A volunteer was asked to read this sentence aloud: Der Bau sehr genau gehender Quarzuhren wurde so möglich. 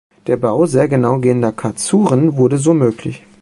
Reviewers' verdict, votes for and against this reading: rejected, 0, 2